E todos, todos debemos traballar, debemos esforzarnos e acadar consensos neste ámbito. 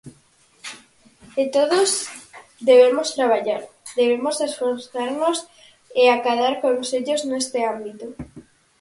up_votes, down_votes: 0, 4